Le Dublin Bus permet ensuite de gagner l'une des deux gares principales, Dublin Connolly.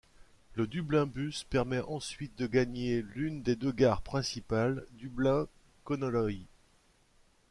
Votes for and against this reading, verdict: 1, 2, rejected